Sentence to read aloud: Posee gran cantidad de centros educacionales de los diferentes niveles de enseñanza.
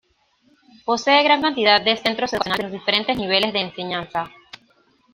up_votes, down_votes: 1, 2